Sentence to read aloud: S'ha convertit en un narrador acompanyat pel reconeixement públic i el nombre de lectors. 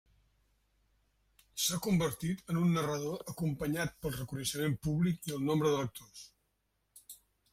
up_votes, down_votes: 1, 2